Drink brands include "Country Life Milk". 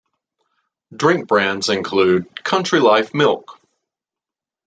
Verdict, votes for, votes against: accepted, 2, 0